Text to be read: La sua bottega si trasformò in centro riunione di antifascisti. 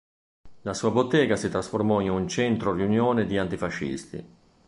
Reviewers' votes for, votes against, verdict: 2, 1, accepted